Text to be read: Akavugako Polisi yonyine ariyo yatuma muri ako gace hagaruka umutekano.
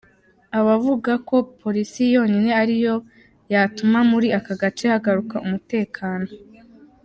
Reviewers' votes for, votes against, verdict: 2, 3, rejected